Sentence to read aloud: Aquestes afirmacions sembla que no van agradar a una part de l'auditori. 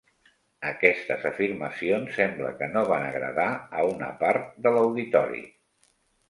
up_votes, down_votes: 4, 0